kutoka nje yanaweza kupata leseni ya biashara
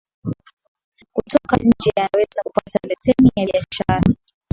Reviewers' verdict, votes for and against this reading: accepted, 4, 2